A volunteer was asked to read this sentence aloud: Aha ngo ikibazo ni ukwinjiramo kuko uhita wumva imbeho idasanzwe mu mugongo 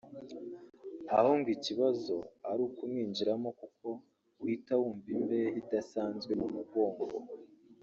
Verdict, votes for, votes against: rejected, 2, 3